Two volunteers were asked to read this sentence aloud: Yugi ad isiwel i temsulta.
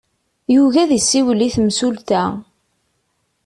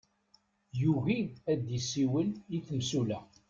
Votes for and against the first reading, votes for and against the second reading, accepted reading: 2, 0, 0, 2, first